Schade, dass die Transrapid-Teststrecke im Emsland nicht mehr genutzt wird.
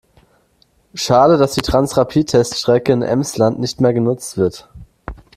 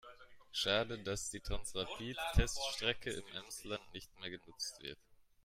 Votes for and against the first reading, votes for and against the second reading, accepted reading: 2, 0, 1, 2, first